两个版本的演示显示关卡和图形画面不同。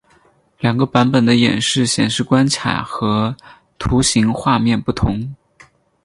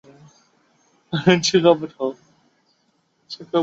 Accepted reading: first